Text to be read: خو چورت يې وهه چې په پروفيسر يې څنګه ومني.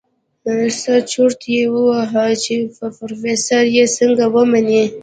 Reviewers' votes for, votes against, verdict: 1, 2, rejected